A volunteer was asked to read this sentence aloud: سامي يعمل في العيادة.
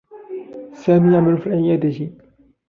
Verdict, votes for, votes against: rejected, 0, 2